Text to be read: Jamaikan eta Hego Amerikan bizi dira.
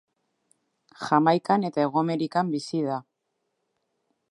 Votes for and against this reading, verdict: 1, 2, rejected